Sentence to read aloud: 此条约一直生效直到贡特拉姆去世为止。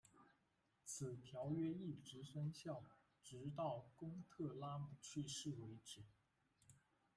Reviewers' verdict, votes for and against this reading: rejected, 0, 2